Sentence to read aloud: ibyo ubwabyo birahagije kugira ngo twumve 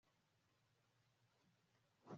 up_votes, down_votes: 1, 2